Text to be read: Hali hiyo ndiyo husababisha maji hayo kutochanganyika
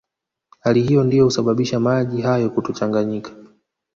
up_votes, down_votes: 4, 2